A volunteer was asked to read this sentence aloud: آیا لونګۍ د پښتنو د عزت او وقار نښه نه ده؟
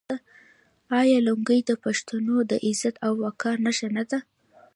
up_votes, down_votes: 0, 2